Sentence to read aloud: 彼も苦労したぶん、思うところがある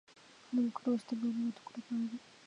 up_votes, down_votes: 2, 0